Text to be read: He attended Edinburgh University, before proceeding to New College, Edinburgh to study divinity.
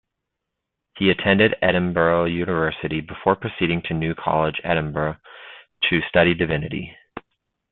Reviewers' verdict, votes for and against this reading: accepted, 2, 0